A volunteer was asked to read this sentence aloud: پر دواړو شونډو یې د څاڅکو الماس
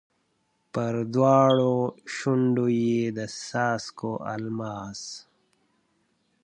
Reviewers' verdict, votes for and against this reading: accepted, 2, 0